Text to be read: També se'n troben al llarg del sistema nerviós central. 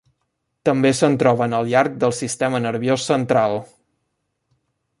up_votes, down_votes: 2, 0